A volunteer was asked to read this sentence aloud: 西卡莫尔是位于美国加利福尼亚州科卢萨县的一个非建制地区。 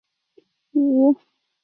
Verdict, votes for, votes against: rejected, 0, 2